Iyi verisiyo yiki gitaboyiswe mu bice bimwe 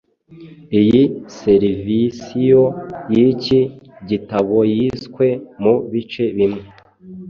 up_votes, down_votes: 1, 2